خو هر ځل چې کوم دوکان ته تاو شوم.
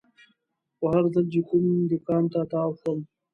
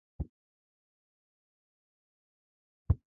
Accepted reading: first